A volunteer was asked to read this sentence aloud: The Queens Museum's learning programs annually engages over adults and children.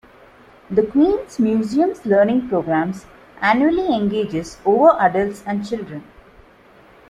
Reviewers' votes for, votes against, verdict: 0, 2, rejected